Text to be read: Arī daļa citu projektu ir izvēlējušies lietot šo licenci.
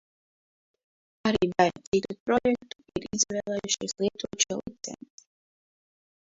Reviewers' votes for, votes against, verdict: 0, 2, rejected